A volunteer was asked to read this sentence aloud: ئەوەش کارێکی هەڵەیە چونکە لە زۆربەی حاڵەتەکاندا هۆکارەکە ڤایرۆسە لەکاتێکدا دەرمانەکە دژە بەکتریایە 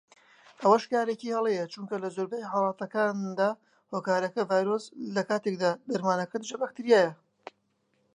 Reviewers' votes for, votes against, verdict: 0, 2, rejected